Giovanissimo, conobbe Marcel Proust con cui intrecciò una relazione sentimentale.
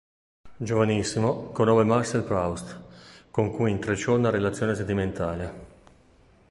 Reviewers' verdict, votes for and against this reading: rejected, 1, 2